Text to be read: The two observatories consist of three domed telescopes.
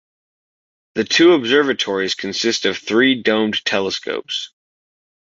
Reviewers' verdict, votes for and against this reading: accepted, 2, 0